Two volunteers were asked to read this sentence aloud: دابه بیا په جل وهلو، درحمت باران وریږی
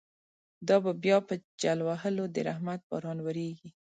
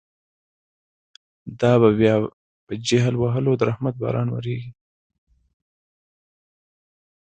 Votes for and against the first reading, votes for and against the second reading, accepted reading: 2, 0, 1, 2, first